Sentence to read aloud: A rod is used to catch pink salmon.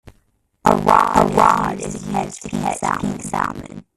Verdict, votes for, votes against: rejected, 0, 2